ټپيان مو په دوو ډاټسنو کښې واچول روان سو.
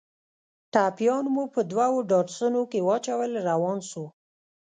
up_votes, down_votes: 1, 2